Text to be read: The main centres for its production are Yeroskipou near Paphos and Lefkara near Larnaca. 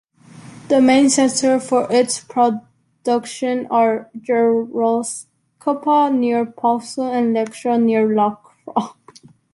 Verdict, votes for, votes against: rejected, 0, 2